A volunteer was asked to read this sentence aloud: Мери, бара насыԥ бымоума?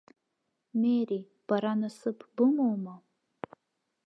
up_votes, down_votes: 2, 1